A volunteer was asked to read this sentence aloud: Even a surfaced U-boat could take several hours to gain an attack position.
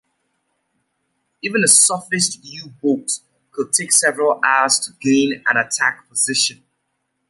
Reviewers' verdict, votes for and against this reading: accepted, 2, 0